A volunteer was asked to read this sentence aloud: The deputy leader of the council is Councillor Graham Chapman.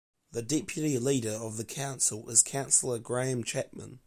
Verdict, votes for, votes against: accepted, 2, 0